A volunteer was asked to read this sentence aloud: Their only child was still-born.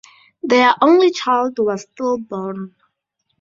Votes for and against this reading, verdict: 8, 2, accepted